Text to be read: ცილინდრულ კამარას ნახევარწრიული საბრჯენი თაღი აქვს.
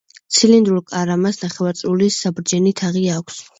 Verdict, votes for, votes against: rejected, 1, 2